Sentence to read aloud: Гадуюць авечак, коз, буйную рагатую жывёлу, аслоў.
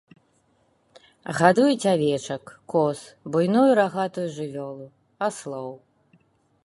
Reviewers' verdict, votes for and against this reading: accepted, 2, 0